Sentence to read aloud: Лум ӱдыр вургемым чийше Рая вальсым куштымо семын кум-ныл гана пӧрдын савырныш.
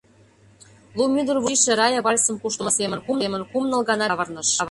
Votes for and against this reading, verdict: 0, 2, rejected